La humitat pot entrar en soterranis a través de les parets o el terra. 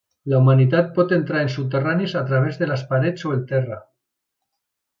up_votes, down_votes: 1, 2